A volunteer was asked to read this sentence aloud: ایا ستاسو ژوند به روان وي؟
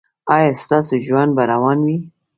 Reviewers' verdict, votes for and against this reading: accepted, 2, 0